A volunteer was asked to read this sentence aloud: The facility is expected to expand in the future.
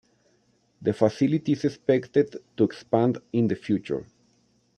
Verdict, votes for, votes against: accepted, 2, 0